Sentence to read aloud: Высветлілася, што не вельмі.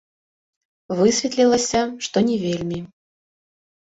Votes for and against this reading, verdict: 1, 2, rejected